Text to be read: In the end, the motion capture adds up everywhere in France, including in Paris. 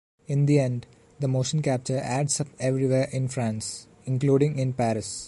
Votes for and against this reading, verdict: 2, 0, accepted